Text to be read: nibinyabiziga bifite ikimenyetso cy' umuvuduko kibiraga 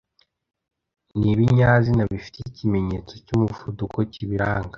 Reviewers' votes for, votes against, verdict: 1, 2, rejected